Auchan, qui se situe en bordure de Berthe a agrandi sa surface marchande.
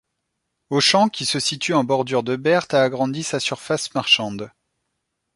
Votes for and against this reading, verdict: 2, 0, accepted